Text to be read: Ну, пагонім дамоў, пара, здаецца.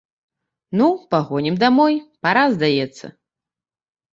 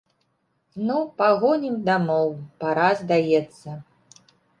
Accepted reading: second